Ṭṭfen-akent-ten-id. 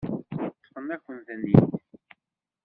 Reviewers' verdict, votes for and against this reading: rejected, 1, 2